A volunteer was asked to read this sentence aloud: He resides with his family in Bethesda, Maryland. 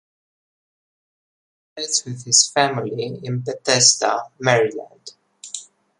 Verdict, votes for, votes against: rejected, 1, 2